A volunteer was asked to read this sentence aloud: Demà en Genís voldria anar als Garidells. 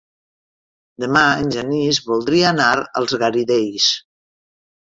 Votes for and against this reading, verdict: 3, 1, accepted